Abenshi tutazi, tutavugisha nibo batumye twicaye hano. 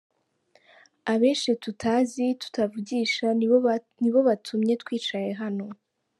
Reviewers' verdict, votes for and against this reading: rejected, 0, 3